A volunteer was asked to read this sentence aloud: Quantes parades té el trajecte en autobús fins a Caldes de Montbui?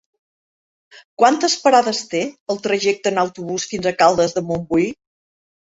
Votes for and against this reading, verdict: 3, 0, accepted